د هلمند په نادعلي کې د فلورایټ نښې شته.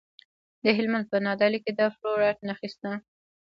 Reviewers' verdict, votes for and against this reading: rejected, 1, 2